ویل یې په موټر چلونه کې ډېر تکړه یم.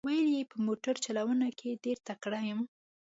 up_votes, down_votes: 2, 0